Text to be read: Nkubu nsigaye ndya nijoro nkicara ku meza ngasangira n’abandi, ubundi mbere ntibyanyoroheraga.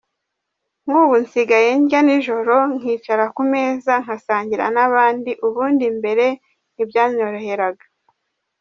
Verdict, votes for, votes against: accepted, 2, 1